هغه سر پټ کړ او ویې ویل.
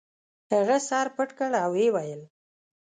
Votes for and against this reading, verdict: 2, 0, accepted